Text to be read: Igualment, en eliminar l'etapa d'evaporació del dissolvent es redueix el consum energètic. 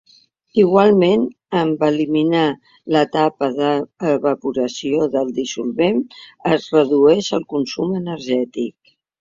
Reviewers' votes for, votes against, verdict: 0, 2, rejected